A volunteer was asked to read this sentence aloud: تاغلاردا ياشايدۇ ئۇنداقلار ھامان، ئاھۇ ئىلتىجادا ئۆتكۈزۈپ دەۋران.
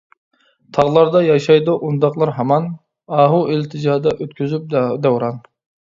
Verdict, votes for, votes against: rejected, 1, 2